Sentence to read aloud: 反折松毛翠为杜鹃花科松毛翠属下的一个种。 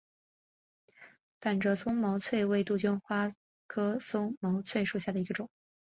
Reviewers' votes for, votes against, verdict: 4, 0, accepted